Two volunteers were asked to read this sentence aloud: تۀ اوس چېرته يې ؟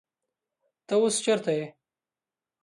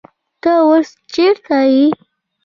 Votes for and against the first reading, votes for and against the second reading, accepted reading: 2, 0, 1, 2, first